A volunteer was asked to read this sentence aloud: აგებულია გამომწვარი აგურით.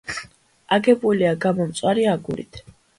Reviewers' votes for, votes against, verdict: 2, 0, accepted